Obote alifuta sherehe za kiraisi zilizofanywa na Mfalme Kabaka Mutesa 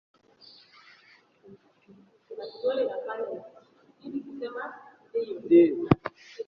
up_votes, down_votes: 1, 2